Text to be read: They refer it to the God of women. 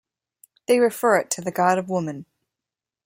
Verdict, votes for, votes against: rejected, 1, 2